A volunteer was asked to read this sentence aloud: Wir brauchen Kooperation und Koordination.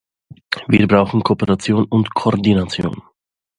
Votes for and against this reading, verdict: 2, 0, accepted